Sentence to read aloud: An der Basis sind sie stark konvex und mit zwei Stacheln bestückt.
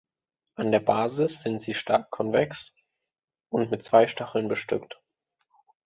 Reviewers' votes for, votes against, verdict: 2, 0, accepted